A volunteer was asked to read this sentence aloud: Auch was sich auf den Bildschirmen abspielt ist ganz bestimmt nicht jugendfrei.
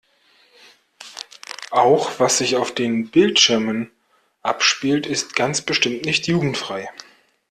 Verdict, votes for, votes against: accepted, 2, 0